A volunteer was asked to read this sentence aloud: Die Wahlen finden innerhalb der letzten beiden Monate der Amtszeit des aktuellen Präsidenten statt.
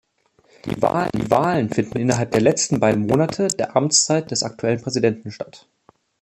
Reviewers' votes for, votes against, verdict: 0, 3, rejected